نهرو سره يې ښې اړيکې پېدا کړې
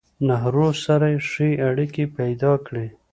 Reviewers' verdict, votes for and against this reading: accepted, 3, 0